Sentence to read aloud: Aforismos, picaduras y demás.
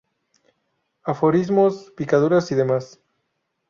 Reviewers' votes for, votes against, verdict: 2, 0, accepted